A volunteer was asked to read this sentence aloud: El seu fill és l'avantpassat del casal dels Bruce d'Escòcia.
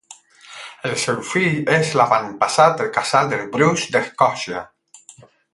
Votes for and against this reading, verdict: 0, 8, rejected